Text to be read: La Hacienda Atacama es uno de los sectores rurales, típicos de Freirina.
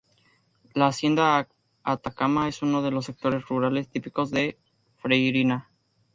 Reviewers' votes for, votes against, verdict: 0, 2, rejected